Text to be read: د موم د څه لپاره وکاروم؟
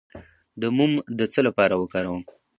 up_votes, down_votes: 2, 0